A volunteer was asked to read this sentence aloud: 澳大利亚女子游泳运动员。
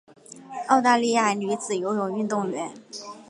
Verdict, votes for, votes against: accepted, 2, 0